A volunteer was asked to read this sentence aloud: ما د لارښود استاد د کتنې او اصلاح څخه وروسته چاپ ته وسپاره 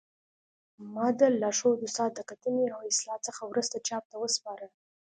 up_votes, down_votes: 3, 0